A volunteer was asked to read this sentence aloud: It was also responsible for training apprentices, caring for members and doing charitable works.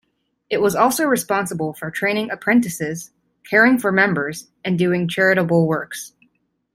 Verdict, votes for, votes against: accepted, 2, 0